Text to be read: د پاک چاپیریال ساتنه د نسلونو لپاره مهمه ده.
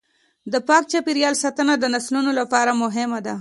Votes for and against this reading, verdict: 2, 0, accepted